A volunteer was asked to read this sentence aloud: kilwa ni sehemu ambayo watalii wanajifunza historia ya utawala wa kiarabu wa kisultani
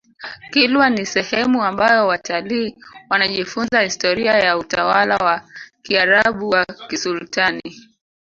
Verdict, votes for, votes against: rejected, 0, 2